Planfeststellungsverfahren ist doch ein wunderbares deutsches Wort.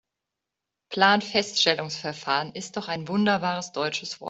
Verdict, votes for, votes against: rejected, 0, 2